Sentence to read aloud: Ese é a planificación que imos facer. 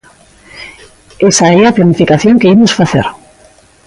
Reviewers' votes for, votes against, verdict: 0, 2, rejected